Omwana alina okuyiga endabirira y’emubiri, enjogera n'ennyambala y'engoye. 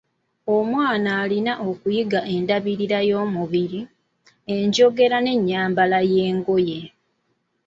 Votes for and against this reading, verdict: 2, 0, accepted